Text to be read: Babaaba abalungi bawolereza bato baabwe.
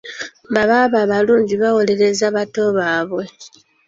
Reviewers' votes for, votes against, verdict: 2, 0, accepted